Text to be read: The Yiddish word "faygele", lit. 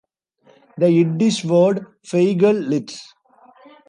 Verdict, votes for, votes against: rejected, 0, 2